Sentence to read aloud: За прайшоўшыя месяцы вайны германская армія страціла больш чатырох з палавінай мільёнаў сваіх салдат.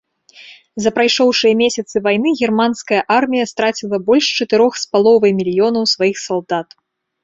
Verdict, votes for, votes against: rejected, 1, 2